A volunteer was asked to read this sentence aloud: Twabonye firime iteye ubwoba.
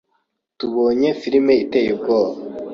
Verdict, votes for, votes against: rejected, 1, 2